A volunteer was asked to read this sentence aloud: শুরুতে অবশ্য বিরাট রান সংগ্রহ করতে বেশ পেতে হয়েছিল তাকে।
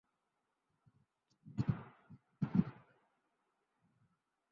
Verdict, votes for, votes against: rejected, 0, 2